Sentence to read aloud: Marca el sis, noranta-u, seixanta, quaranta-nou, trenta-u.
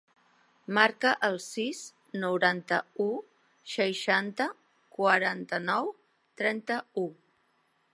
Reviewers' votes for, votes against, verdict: 2, 0, accepted